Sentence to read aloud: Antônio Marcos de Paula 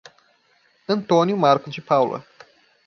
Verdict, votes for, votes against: rejected, 0, 2